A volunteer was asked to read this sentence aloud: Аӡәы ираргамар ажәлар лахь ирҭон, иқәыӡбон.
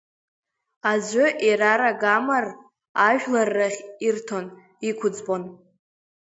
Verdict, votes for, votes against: rejected, 0, 2